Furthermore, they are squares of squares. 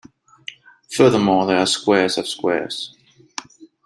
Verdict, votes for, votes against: accepted, 2, 0